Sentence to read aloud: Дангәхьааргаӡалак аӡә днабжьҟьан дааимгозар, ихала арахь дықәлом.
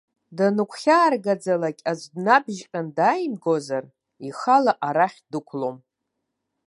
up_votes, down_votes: 1, 2